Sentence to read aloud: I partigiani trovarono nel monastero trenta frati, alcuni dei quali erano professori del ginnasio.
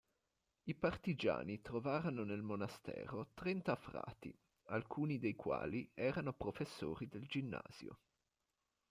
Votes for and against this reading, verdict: 2, 1, accepted